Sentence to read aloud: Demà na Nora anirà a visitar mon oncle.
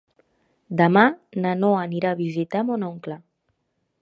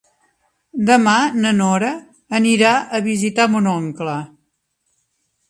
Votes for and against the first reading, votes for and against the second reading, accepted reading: 0, 2, 5, 0, second